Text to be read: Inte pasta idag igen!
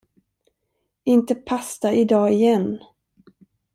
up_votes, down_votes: 2, 0